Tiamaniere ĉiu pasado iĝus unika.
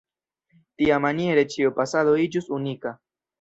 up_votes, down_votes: 0, 2